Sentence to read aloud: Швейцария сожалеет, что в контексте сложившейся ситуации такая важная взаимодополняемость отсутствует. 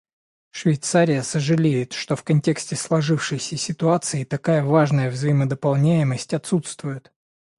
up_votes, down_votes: 2, 0